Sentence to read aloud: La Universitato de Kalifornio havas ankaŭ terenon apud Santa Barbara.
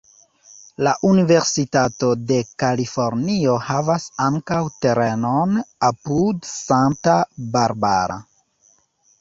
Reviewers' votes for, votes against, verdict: 1, 2, rejected